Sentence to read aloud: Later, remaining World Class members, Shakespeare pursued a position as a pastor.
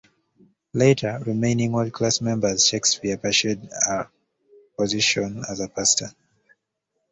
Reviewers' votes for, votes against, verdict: 1, 2, rejected